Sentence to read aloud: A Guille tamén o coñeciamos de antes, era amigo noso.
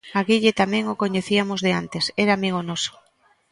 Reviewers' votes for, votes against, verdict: 1, 2, rejected